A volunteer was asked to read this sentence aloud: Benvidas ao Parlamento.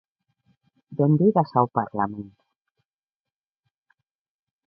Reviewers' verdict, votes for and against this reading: rejected, 0, 2